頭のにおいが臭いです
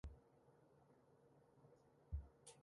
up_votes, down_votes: 1, 2